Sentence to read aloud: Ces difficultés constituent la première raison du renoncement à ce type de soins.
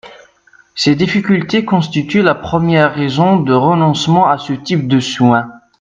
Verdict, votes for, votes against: rejected, 0, 2